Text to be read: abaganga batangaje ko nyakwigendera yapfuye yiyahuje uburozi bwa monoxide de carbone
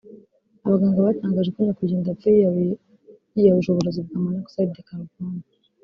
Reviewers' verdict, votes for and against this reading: rejected, 2, 3